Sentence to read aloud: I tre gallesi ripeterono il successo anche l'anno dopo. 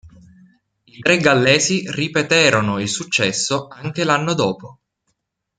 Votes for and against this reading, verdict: 1, 2, rejected